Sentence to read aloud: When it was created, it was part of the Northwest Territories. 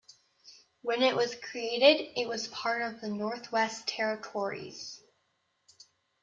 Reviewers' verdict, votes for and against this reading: accepted, 2, 0